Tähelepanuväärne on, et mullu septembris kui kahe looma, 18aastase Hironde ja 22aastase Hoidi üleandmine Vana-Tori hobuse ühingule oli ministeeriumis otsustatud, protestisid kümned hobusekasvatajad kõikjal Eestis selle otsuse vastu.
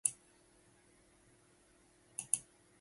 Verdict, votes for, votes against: rejected, 0, 2